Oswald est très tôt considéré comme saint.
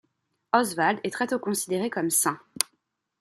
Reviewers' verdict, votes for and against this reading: accepted, 2, 0